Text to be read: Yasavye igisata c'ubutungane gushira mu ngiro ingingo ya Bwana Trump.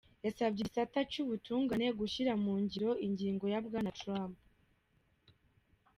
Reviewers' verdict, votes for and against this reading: accepted, 2, 0